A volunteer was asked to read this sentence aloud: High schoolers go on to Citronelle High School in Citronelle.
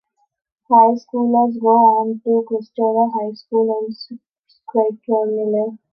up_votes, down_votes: 0, 2